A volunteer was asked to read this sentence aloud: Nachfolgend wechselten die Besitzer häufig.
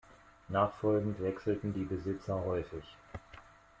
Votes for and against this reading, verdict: 2, 0, accepted